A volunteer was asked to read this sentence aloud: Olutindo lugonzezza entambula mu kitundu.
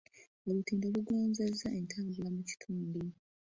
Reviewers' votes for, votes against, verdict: 1, 2, rejected